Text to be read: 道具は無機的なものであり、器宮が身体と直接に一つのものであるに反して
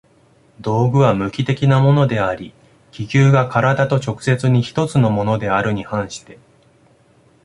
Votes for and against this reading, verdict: 2, 0, accepted